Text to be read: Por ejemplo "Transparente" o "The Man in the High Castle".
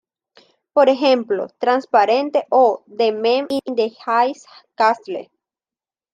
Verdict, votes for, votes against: accepted, 2, 0